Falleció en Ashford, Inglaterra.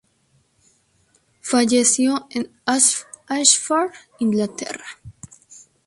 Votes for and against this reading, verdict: 2, 2, rejected